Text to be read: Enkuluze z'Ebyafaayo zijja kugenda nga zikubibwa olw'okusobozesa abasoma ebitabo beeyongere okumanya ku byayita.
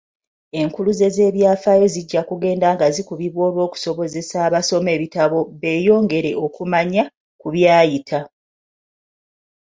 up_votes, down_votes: 2, 0